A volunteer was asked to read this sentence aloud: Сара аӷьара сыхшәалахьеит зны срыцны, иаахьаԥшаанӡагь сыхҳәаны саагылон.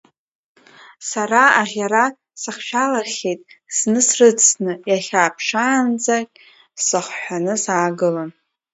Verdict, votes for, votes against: rejected, 1, 2